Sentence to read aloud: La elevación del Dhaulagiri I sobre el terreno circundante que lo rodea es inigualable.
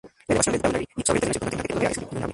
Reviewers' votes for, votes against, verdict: 0, 2, rejected